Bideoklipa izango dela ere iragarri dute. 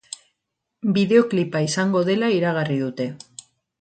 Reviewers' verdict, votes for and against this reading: rejected, 2, 6